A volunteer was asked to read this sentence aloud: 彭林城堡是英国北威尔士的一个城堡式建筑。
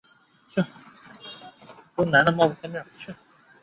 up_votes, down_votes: 0, 2